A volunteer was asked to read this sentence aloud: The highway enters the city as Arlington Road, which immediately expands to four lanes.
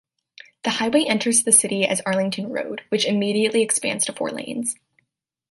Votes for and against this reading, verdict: 2, 0, accepted